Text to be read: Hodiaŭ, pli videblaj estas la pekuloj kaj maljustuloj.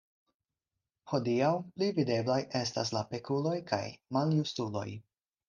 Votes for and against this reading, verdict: 4, 0, accepted